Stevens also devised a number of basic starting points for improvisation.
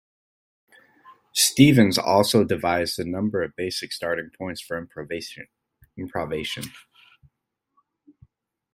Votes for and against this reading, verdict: 1, 2, rejected